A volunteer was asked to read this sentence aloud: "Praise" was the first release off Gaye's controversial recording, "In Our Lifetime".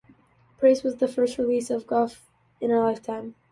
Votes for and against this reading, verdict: 0, 2, rejected